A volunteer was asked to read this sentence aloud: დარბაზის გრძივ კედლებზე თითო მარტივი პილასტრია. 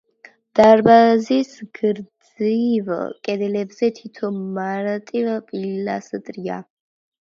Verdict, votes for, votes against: rejected, 0, 2